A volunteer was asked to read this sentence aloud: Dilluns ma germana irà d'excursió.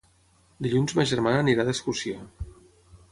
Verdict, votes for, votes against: rejected, 3, 3